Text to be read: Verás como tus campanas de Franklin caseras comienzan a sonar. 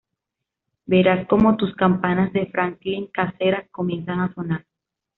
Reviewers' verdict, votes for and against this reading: accepted, 2, 0